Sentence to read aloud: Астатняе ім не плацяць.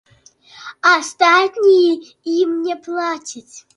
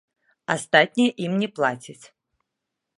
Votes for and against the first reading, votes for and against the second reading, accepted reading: 1, 2, 2, 0, second